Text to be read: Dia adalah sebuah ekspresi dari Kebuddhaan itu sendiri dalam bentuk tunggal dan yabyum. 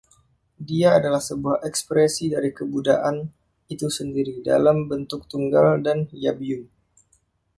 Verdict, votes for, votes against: rejected, 1, 2